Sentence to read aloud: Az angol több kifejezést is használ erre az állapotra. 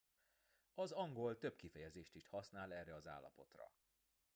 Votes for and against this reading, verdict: 2, 1, accepted